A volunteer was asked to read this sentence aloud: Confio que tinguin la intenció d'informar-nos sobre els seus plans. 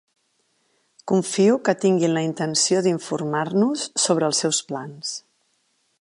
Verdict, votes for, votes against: accepted, 4, 0